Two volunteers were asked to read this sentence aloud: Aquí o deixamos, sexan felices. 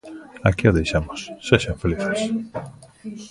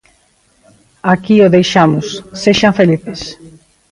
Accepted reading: first